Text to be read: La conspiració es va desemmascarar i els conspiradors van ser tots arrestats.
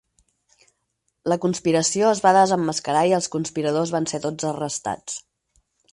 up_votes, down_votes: 6, 0